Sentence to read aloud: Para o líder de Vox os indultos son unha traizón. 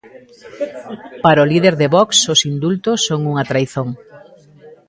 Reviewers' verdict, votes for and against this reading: rejected, 1, 2